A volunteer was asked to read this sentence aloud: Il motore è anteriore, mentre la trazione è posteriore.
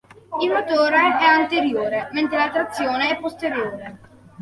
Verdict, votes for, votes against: accepted, 2, 0